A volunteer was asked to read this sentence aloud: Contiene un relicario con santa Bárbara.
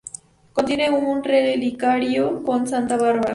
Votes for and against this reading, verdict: 0, 2, rejected